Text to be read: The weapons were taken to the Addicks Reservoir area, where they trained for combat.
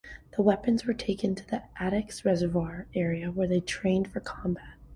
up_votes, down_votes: 2, 1